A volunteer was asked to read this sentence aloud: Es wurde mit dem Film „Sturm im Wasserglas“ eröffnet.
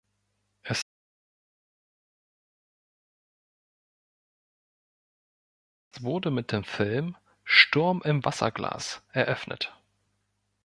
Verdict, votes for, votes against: rejected, 0, 2